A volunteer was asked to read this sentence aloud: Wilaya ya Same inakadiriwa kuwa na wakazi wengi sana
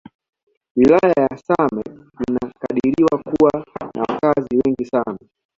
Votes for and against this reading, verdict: 2, 0, accepted